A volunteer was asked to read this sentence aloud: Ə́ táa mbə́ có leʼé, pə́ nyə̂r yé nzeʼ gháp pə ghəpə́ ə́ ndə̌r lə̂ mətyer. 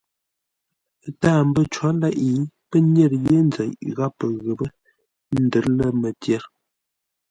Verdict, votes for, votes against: accepted, 2, 0